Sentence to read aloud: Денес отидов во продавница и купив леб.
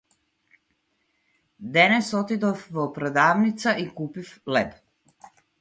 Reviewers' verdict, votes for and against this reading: accepted, 4, 0